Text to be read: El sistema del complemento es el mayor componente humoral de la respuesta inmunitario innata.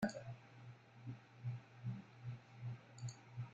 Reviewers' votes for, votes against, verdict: 0, 2, rejected